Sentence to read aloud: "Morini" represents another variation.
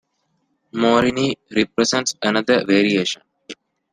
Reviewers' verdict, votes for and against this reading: accepted, 2, 0